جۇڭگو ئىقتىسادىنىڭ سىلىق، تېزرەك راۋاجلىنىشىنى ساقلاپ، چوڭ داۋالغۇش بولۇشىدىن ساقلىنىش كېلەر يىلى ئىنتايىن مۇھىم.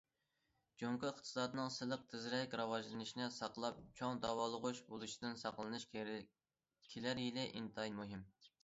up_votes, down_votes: 0, 2